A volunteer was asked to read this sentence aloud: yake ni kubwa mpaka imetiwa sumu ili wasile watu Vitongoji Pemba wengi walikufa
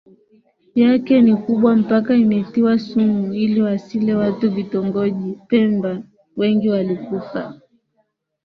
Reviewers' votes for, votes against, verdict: 1, 2, rejected